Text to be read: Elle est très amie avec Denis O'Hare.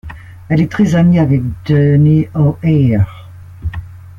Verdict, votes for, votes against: rejected, 1, 2